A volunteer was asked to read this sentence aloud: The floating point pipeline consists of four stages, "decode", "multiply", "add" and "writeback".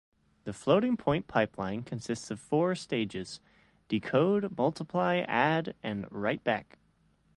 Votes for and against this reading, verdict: 2, 0, accepted